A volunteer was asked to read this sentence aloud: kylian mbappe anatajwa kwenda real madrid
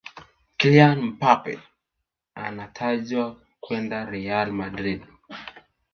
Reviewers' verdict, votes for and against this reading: accepted, 2, 1